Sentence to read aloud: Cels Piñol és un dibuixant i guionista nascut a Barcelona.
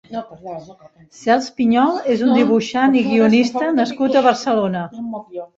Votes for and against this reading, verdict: 0, 2, rejected